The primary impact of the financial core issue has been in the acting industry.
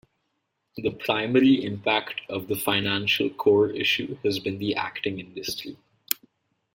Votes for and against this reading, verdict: 1, 3, rejected